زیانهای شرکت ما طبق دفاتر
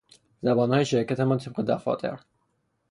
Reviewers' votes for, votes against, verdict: 0, 3, rejected